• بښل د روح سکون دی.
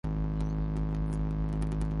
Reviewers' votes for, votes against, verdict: 0, 2, rejected